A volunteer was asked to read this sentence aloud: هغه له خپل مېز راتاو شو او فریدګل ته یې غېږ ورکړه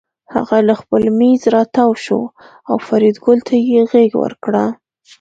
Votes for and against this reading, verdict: 2, 0, accepted